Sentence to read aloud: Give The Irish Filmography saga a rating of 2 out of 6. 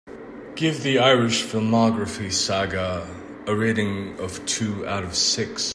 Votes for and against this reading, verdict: 0, 2, rejected